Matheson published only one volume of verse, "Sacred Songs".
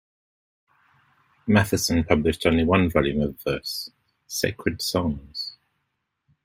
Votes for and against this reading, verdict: 2, 1, accepted